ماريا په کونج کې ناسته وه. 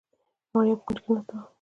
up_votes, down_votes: 2, 0